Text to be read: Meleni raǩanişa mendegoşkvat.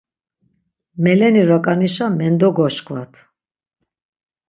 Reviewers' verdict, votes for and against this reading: accepted, 6, 0